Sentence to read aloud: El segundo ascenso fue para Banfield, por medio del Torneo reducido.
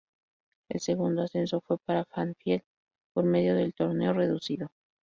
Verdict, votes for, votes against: accepted, 2, 0